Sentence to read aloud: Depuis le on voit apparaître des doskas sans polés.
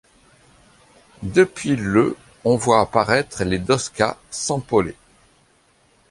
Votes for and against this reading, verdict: 2, 0, accepted